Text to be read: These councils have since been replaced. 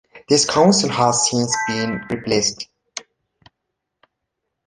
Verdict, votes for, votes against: rejected, 0, 2